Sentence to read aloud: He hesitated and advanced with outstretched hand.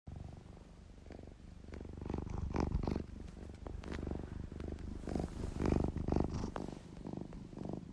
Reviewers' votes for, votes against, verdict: 0, 2, rejected